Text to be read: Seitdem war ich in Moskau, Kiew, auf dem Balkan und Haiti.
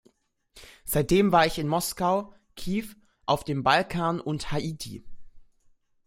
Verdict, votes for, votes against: rejected, 0, 2